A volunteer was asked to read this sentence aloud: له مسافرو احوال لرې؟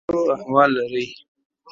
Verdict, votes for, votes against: rejected, 1, 2